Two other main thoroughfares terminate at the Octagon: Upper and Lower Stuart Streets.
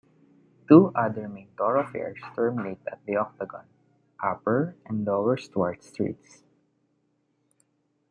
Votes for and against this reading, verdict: 1, 2, rejected